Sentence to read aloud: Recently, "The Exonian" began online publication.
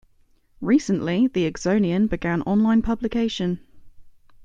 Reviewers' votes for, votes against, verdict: 2, 0, accepted